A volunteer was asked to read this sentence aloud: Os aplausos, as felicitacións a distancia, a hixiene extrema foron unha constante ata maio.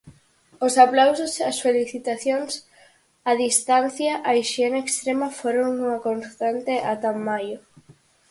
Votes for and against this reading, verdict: 4, 0, accepted